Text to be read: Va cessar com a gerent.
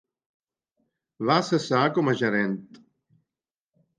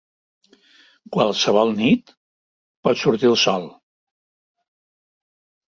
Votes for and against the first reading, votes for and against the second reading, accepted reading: 2, 0, 0, 2, first